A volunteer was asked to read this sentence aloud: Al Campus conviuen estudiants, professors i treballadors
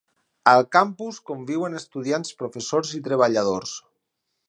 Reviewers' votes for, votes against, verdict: 8, 0, accepted